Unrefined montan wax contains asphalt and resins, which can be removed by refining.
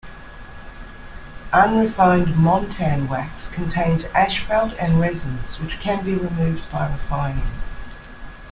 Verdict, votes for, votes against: accepted, 2, 0